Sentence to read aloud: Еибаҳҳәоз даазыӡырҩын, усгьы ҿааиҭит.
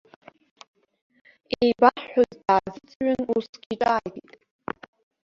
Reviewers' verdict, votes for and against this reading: rejected, 1, 2